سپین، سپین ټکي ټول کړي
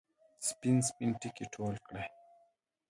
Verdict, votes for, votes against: rejected, 1, 2